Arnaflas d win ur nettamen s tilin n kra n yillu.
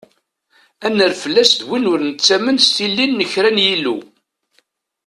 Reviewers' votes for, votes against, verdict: 1, 2, rejected